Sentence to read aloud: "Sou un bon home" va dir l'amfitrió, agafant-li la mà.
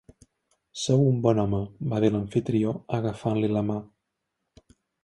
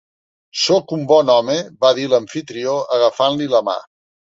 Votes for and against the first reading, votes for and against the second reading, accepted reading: 3, 0, 0, 2, first